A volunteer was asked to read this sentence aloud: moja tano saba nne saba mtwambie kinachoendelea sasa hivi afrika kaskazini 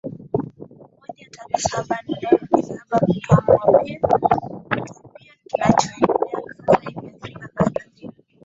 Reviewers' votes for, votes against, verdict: 1, 2, rejected